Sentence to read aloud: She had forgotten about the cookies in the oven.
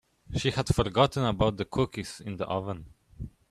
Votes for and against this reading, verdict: 2, 0, accepted